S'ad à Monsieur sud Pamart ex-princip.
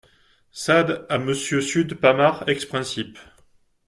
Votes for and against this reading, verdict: 2, 0, accepted